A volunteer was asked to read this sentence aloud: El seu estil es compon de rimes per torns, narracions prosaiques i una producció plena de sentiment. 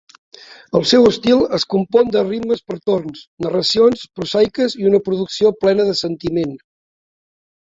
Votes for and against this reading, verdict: 2, 0, accepted